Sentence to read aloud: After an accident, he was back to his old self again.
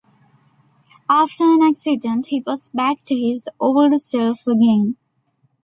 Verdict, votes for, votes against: accepted, 2, 0